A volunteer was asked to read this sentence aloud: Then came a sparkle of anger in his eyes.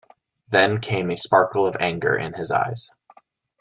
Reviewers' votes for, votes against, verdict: 2, 0, accepted